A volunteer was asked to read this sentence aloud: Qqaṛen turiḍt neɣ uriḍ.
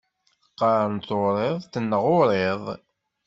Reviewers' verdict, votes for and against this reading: accepted, 2, 0